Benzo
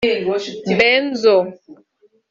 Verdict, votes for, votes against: rejected, 1, 2